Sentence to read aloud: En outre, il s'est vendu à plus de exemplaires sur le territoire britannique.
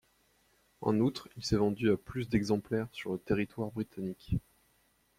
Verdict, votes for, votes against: rejected, 1, 2